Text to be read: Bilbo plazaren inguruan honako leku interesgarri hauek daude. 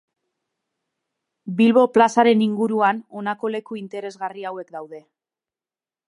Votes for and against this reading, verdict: 2, 0, accepted